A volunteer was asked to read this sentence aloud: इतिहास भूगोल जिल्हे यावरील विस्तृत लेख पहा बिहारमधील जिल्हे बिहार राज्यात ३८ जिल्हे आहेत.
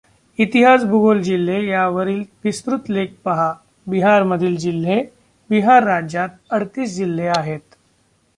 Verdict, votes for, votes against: rejected, 0, 2